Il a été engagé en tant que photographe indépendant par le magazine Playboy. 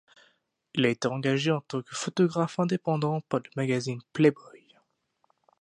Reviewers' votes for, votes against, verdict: 0, 2, rejected